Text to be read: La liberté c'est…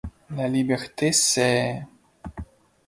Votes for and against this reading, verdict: 2, 0, accepted